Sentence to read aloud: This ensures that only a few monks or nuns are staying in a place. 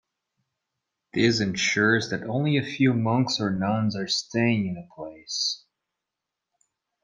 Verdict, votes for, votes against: accepted, 2, 0